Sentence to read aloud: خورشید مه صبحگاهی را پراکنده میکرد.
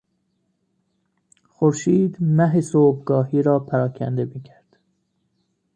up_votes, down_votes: 0, 2